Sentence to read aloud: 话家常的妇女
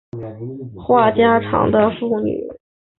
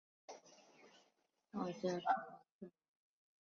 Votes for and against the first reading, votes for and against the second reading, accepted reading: 2, 1, 1, 3, first